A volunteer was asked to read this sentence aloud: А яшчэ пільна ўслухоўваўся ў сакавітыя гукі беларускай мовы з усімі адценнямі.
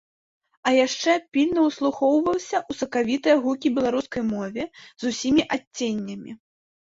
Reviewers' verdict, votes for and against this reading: rejected, 0, 2